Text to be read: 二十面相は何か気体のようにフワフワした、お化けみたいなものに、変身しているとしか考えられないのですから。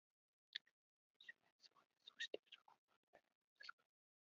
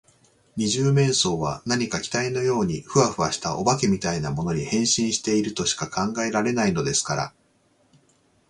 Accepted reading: second